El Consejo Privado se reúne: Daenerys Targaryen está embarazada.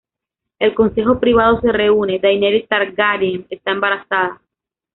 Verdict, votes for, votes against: rejected, 0, 2